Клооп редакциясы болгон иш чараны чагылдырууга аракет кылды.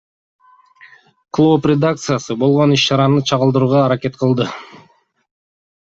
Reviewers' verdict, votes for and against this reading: accepted, 2, 0